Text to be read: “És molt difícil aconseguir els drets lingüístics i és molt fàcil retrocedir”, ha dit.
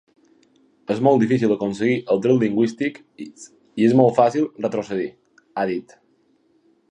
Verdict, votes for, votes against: accepted, 3, 1